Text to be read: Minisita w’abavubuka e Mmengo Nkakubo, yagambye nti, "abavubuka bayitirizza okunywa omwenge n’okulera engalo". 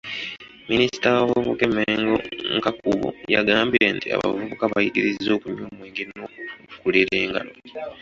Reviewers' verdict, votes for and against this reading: rejected, 1, 2